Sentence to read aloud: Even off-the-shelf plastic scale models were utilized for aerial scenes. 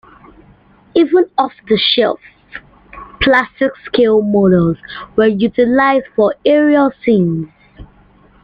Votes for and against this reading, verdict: 3, 0, accepted